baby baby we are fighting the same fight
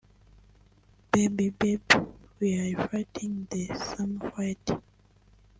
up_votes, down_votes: 0, 2